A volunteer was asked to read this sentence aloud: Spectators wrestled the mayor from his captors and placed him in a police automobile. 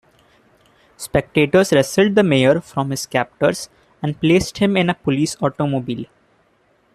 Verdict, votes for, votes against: rejected, 0, 2